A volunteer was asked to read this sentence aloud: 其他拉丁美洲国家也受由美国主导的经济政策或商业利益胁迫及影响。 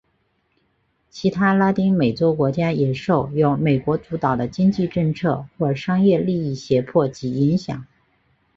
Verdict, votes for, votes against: accepted, 3, 0